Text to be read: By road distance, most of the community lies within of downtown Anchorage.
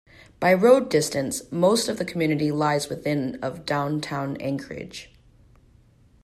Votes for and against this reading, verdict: 2, 1, accepted